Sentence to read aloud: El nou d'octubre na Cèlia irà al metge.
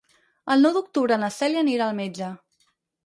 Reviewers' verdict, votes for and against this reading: rejected, 0, 4